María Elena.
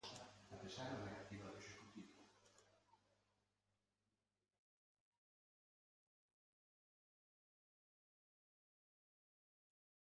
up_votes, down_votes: 0, 2